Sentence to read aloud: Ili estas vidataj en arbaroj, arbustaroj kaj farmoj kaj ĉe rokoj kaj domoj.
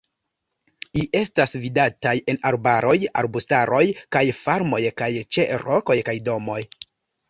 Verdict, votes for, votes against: rejected, 1, 2